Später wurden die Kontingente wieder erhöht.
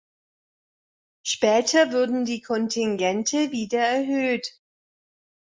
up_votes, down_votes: 1, 2